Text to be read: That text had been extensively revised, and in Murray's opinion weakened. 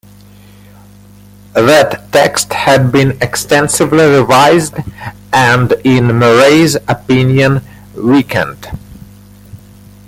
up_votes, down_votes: 0, 2